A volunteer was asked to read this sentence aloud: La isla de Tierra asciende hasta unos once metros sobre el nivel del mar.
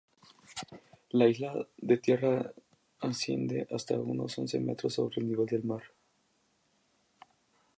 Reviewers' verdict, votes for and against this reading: accepted, 2, 0